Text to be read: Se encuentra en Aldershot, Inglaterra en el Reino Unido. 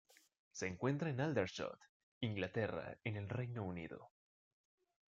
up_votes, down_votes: 2, 0